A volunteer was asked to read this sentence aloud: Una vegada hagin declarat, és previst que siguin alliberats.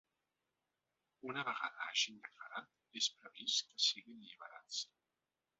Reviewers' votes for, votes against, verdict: 2, 0, accepted